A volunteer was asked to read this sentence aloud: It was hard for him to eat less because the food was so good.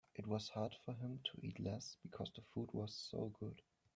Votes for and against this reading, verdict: 3, 1, accepted